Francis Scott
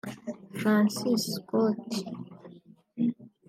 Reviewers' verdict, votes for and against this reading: rejected, 0, 2